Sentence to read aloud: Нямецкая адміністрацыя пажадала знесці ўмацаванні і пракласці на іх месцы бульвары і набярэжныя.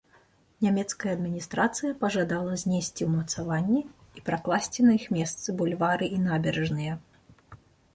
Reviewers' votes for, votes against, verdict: 1, 2, rejected